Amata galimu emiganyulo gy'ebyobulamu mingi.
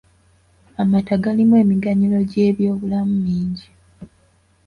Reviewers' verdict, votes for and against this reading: accepted, 2, 0